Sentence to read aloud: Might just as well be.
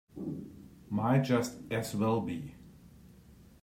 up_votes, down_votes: 2, 0